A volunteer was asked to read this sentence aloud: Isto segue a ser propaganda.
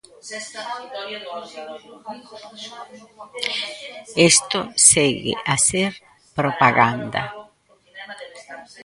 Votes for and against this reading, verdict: 0, 2, rejected